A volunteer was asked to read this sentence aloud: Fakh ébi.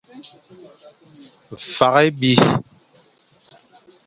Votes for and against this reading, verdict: 0, 2, rejected